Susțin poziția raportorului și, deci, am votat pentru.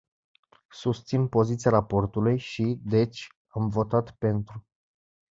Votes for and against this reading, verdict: 1, 2, rejected